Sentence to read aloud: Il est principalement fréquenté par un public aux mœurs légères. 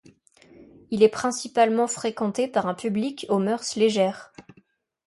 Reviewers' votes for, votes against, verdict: 2, 0, accepted